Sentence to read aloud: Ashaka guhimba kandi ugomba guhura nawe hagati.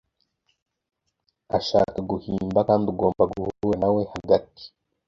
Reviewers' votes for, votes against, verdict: 0, 2, rejected